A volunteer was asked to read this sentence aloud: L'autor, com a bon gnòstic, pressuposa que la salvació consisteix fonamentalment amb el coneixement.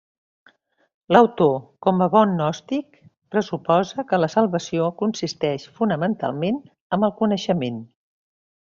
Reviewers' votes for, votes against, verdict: 2, 0, accepted